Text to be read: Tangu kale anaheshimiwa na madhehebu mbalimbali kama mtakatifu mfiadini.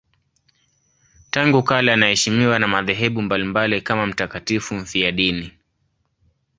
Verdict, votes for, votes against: accepted, 2, 0